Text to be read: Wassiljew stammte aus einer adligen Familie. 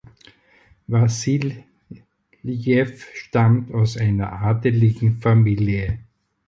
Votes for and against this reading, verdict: 0, 4, rejected